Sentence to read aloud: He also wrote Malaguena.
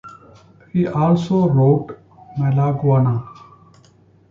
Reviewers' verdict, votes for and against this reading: accepted, 2, 0